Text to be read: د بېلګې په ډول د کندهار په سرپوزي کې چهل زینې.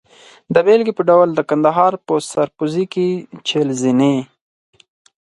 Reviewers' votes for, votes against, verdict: 4, 0, accepted